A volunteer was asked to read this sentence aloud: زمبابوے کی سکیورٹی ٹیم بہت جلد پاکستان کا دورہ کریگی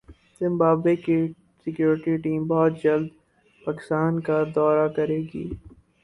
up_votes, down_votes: 8, 0